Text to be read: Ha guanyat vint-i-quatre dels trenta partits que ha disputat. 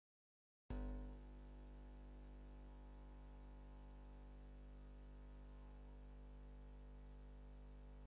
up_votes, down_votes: 2, 12